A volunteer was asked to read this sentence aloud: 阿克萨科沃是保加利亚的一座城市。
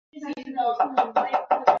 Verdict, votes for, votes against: rejected, 2, 3